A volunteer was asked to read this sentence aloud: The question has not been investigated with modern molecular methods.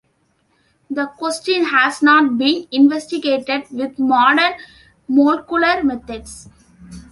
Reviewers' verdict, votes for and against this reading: rejected, 0, 2